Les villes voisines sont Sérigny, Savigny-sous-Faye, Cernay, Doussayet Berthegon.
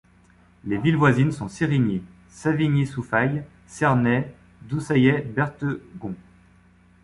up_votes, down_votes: 1, 2